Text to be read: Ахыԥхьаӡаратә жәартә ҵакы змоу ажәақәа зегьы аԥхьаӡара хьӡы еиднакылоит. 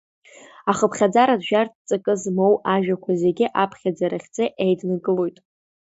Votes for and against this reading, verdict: 2, 1, accepted